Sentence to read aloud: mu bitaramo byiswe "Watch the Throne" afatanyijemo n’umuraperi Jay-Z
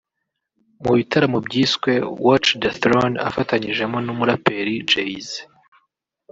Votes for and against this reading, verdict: 4, 0, accepted